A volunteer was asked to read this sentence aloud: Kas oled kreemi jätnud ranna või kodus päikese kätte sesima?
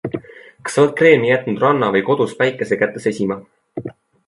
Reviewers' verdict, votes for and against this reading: accepted, 2, 0